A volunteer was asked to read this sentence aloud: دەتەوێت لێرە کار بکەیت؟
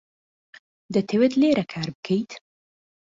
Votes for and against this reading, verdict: 2, 0, accepted